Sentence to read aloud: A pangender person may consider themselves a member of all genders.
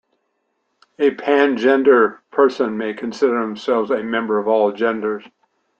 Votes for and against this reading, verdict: 2, 1, accepted